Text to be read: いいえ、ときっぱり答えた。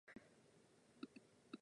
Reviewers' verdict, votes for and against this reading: rejected, 1, 2